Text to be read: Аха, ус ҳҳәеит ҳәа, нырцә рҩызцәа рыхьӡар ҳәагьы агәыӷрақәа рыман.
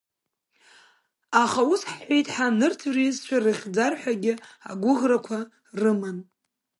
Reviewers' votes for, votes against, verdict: 2, 0, accepted